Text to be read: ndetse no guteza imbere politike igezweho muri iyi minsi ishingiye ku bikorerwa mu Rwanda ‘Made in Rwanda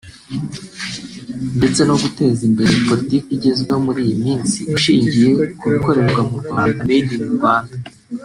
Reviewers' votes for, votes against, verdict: 1, 2, rejected